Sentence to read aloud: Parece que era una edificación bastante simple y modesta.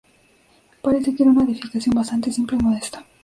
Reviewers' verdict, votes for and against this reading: accepted, 2, 0